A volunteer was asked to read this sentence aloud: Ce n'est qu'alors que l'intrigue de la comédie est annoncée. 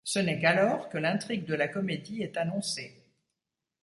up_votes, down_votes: 2, 1